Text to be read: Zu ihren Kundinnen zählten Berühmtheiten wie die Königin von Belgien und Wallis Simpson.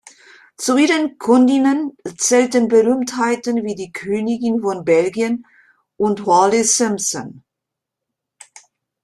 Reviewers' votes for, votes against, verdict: 2, 1, accepted